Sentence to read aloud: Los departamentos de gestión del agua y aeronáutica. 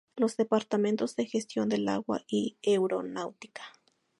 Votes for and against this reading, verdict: 0, 2, rejected